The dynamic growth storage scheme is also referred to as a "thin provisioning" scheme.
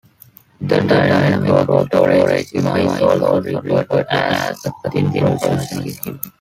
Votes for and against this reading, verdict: 1, 2, rejected